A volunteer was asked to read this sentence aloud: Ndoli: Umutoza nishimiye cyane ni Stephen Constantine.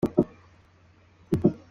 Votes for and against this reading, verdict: 0, 2, rejected